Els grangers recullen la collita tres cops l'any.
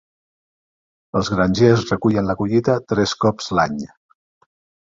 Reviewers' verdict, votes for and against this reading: accepted, 4, 0